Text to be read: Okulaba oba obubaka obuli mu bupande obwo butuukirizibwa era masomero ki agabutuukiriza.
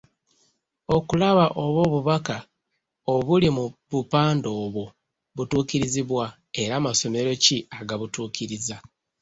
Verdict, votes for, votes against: rejected, 0, 2